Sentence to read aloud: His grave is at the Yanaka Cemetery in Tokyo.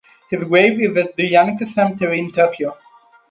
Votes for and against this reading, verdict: 0, 4, rejected